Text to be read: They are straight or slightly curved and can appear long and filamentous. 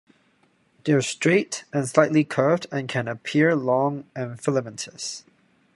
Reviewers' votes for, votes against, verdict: 2, 0, accepted